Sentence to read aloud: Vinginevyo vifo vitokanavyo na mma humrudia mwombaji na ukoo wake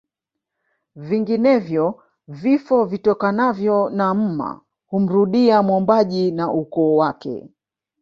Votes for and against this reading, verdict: 1, 2, rejected